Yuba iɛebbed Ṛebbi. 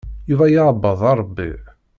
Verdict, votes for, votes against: rejected, 0, 2